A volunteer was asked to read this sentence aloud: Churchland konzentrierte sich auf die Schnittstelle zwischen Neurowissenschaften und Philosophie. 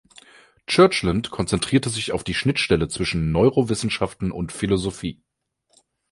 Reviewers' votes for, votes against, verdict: 3, 0, accepted